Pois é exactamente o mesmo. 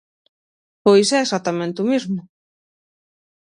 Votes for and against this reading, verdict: 0, 6, rejected